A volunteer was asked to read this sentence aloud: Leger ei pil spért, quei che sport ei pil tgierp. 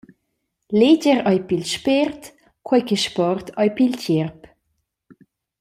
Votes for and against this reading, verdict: 2, 0, accepted